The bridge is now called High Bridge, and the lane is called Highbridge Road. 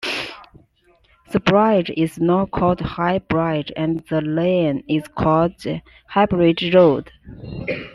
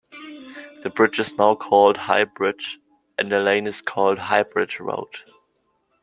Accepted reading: second